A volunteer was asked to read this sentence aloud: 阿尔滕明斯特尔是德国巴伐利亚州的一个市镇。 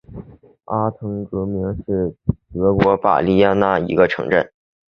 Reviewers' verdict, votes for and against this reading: rejected, 2, 5